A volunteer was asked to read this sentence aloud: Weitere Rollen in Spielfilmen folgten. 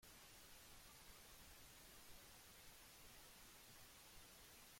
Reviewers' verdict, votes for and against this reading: rejected, 0, 3